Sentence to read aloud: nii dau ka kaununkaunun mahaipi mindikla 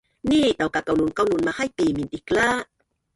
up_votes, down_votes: 1, 2